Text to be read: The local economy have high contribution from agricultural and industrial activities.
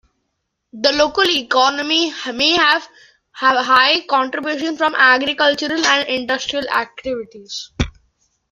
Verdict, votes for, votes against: rejected, 1, 2